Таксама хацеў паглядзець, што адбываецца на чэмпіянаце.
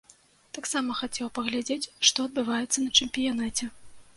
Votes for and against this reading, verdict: 2, 0, accepted